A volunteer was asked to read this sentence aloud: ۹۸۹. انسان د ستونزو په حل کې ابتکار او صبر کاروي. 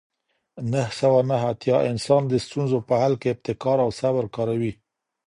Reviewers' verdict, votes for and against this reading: rejected, 0, 2